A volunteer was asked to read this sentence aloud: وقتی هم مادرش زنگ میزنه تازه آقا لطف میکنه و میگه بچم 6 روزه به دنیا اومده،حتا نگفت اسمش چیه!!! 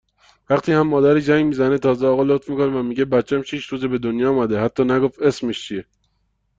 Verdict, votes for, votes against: rejected, 0, 2